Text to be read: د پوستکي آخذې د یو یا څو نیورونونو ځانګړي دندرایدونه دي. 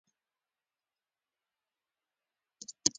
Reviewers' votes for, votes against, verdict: 1, 2, rejected